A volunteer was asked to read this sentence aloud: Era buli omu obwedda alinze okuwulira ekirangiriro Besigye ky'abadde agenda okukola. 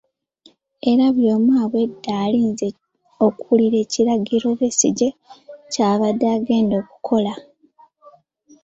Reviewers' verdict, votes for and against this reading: rejected, 0, 2